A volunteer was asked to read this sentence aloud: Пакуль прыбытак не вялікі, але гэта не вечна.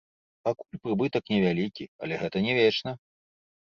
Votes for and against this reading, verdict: 1, 2, rejected